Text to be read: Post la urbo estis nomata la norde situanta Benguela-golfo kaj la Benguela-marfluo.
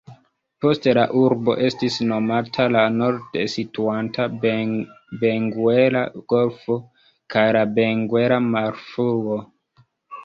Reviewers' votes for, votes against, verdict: 0, 2, rejected